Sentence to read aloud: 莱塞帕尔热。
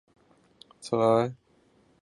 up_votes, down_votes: 1, 2